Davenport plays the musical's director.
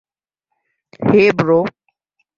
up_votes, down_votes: 0, 2